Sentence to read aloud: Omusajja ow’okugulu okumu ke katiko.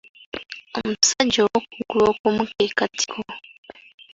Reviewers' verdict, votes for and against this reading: accepted, 3, 2